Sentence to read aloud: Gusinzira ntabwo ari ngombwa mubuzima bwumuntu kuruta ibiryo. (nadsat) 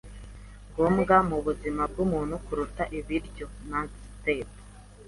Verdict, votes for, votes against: accepted, 2, 0